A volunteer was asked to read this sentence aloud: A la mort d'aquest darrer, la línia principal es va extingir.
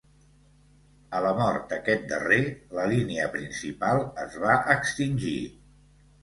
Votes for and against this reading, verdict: 2, 0, accepted